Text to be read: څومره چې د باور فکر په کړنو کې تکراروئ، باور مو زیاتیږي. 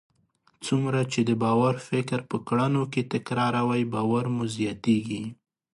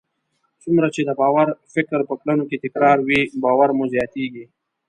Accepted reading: first